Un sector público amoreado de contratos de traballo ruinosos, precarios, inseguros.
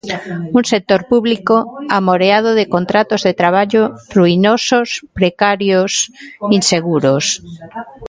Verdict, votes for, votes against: accepted, 3, 0